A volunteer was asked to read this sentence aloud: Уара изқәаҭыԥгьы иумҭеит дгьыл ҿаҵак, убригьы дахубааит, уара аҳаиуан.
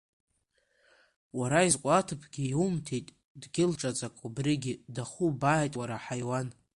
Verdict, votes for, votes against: accepted, 2, 0